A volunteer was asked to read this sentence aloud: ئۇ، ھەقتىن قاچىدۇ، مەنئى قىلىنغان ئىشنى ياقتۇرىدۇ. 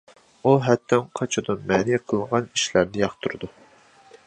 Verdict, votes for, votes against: rejected, 0, 2